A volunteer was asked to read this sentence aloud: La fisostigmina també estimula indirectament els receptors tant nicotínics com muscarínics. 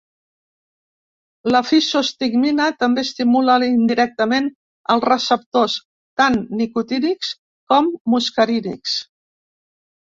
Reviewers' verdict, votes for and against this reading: rejected, 1, 2